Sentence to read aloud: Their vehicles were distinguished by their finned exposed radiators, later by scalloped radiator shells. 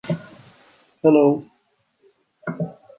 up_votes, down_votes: 0, 2